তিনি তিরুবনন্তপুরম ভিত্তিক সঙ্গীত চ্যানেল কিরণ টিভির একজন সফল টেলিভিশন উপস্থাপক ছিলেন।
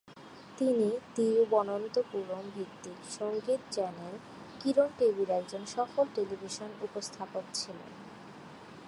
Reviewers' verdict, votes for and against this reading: rejected, 0, 2